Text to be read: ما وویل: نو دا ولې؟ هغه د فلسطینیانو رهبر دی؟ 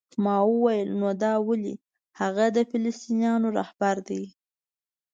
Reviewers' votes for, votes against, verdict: 2, 0, accepted